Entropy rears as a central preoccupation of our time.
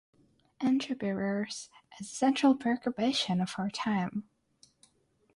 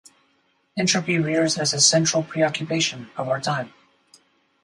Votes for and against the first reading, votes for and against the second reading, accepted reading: 3, 3, 4, 0, second